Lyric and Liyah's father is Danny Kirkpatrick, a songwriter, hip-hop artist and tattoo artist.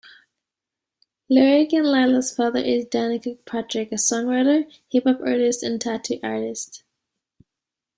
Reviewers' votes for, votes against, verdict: 1, 2, rejected